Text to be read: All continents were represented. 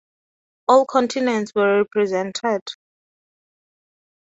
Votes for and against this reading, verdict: 2, 0, accepted